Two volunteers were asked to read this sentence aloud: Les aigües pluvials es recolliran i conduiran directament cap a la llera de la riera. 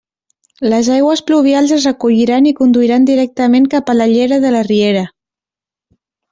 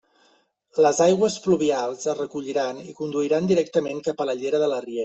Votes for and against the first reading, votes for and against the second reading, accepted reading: 4, 0, 1, 2, first